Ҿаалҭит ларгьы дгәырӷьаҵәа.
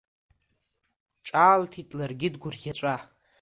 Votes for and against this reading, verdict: 2, 0, accepted